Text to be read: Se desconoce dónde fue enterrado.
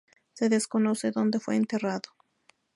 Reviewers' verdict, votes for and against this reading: accepted, 2, 0